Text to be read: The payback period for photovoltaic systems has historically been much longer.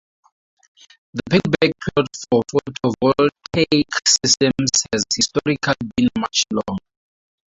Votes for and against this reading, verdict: 0, 4, rejected